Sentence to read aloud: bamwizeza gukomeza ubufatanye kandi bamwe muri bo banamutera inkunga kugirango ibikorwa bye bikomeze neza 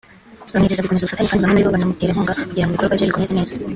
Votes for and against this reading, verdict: 1, 2, rejected